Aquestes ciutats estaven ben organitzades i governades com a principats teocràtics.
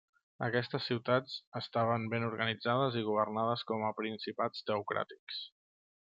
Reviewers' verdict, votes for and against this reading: accepted, 3, 0